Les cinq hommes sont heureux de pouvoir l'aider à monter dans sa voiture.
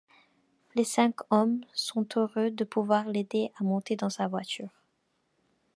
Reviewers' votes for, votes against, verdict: 2, 0, accepted